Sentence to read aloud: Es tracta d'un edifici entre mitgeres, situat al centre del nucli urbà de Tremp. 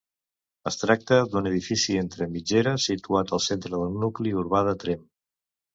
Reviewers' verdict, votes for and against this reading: accepted, 2, 0